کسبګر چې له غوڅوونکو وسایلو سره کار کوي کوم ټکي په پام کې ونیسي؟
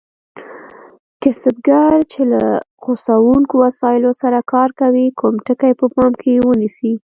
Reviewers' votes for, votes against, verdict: 1, 2, rejected